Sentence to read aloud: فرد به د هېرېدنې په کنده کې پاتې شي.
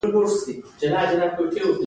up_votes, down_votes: 2, 1